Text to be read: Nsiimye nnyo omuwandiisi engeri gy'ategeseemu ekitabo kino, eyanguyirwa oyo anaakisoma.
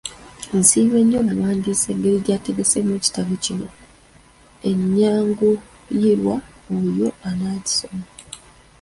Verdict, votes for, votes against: rejected, 1, 2